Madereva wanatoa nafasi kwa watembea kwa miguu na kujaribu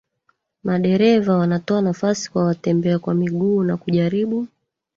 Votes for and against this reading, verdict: 0, 2, rejected